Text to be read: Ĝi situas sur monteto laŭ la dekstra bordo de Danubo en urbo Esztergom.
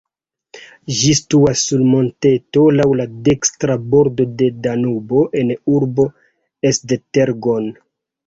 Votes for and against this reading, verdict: 1, 2, rejected